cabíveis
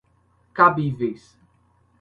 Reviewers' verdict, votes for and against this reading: accepted, 2, 0